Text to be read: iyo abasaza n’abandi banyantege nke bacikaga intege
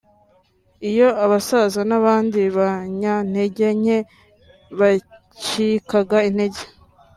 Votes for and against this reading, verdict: 2, 0, accepted